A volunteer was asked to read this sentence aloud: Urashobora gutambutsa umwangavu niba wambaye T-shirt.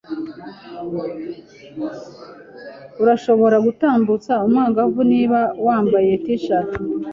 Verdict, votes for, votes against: accepted, 2, 0